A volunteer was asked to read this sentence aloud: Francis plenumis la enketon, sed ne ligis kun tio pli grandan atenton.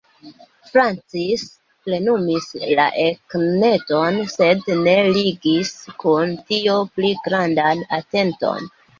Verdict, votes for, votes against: rejected, 0, 3